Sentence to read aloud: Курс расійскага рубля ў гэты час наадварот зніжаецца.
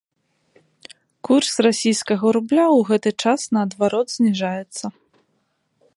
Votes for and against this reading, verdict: 2, 0, accepted